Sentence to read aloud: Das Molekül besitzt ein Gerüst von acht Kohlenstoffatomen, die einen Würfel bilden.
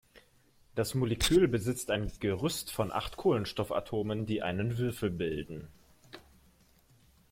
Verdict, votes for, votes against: accepted, 2, 0